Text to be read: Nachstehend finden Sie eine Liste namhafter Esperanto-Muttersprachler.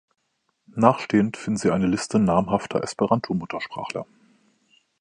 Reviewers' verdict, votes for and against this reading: accepted, 2, 0